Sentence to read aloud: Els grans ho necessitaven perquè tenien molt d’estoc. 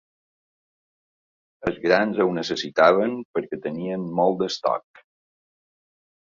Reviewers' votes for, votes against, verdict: 2, 0, accepted